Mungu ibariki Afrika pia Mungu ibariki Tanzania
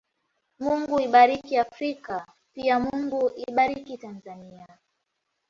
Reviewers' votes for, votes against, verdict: 2, 1, accepted